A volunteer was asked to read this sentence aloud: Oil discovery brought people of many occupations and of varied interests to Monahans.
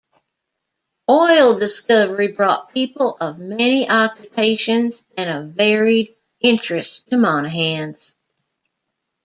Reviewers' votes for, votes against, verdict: 2, 0, accepted